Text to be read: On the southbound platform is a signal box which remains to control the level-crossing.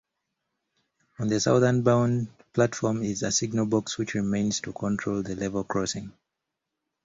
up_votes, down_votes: 1, 2